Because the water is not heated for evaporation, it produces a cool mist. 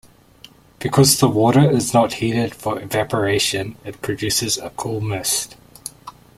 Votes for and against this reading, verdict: 2, 0, accepted